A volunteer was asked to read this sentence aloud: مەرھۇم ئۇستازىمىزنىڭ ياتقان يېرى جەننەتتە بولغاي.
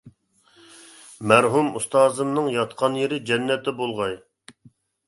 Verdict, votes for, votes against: rejected, 0, 2